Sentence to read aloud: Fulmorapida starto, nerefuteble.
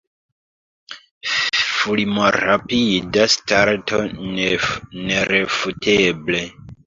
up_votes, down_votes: 1, 2